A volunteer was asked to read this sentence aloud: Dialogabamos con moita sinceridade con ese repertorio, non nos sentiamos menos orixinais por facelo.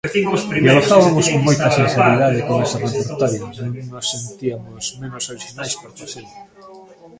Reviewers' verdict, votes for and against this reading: rejected, 0, 2